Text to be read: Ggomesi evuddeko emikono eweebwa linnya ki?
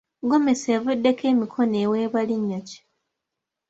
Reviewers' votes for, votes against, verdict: 2, 0, accepted